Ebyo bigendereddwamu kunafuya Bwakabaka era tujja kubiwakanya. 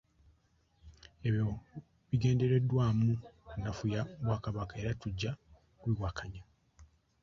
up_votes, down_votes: 0, 2